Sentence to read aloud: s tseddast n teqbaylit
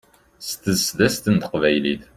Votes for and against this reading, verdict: 1, 2, rejected